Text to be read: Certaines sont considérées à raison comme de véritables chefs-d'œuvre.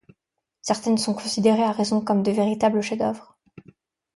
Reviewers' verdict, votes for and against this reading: accepted, 2, 0